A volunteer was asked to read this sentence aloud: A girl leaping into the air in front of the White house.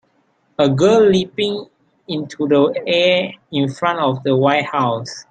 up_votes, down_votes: 2, 0